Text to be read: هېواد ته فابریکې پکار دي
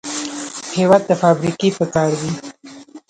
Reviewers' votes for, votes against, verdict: 0, 2, rejected